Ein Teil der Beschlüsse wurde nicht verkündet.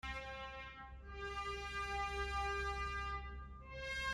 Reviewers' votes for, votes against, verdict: 0, 2, rejected